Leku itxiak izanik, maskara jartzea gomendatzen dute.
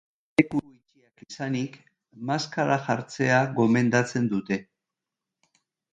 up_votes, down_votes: 1, 2